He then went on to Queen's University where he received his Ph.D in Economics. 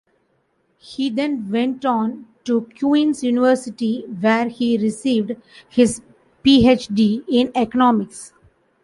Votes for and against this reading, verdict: 0, 2, rejected